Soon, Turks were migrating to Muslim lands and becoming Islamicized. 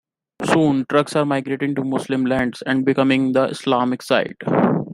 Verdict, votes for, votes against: rejected, 0, 2